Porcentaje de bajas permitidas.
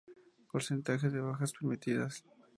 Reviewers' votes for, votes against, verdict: 2, 0, accepted